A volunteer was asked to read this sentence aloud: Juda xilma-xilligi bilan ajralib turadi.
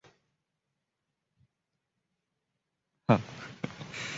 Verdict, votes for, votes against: rejected, 0, 2